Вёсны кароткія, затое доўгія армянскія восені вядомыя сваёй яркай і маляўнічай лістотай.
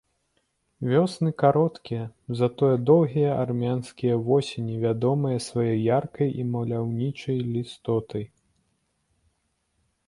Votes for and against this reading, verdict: 2, 0, accepted